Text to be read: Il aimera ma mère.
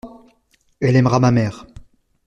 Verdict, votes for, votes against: rejected, 0, 2